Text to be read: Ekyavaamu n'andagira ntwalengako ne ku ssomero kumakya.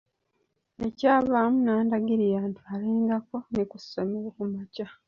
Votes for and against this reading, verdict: 2, 1, accepted